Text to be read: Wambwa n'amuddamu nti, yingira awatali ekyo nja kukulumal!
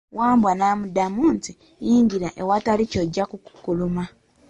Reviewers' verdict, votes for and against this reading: rejected, 1, 2